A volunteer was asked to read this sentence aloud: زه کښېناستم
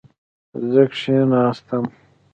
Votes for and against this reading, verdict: 2, 1, accepted